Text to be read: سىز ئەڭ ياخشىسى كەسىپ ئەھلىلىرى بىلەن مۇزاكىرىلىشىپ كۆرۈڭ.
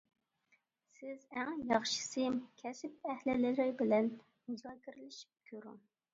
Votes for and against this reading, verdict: 2, 1, accepted